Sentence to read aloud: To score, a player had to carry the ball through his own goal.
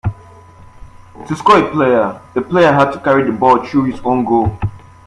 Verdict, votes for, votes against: rejected, 1, 2